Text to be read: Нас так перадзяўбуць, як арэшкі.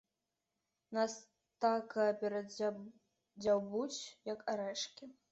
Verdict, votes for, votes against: rejected, 1, 2